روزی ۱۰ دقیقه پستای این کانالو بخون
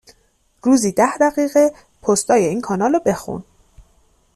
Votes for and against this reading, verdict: 0, 2, rejected